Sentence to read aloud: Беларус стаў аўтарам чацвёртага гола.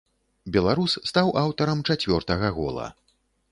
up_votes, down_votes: 2, 0